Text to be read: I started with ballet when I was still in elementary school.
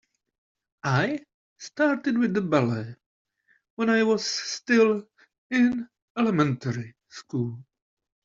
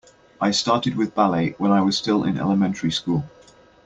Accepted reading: second